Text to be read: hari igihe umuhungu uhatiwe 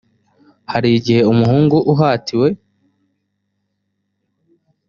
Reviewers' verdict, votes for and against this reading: accepted, 2, 0